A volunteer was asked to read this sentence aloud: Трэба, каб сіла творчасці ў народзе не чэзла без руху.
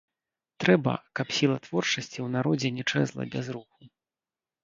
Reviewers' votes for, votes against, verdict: 0, 2, rejected